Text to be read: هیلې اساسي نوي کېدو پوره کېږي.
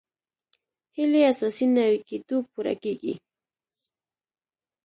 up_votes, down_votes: 2, 1